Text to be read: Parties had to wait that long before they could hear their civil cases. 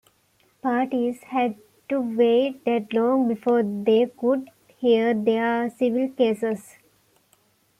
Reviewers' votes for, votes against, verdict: 2, 0, accepted